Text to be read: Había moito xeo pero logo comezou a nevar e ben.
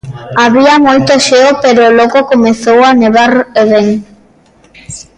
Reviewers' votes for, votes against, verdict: 1, 2, rejected